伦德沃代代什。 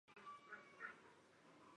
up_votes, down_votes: 2, 5